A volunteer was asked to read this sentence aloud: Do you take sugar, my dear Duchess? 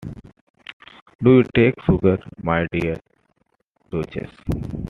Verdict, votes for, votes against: accepted, 2, 1